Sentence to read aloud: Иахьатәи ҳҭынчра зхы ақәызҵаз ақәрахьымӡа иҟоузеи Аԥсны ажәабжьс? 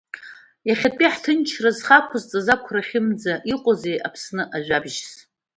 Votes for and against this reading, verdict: 2, 1, accepted